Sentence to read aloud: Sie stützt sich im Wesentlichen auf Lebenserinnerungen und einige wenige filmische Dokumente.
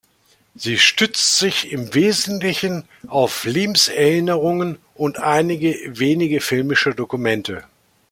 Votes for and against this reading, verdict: 2, 0, accepted